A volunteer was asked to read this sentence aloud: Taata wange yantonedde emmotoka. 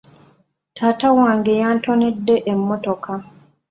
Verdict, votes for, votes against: accepted, 2, 0